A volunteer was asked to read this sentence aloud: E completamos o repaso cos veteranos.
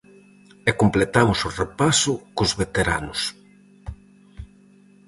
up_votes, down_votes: 4, 0